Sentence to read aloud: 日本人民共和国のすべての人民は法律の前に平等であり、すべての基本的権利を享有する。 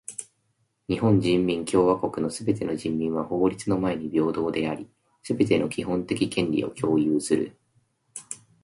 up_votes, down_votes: 2, 0